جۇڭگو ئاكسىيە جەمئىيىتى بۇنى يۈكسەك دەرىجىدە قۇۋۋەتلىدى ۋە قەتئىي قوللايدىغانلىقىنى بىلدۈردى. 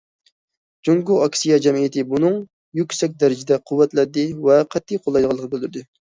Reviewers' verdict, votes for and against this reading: rejected, 1, 2